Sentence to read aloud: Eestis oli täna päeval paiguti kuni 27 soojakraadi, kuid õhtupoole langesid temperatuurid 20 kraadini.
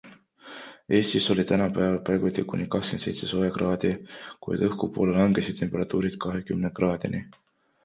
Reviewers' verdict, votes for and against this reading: rejected, 0, 2